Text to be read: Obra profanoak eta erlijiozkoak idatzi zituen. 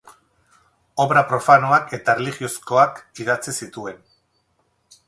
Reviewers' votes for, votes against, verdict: 2, 2, rejected